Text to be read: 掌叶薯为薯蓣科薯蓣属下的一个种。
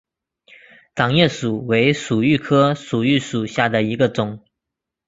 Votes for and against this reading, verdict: 2, 0, accepted